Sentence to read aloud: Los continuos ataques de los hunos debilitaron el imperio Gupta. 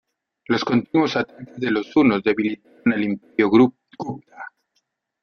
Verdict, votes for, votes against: rejected, 0, 2